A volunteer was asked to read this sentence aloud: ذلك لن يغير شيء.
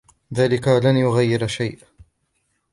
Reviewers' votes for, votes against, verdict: 2, 0, accepted